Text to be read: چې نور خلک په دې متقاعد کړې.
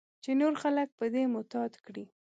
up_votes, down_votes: 2, 1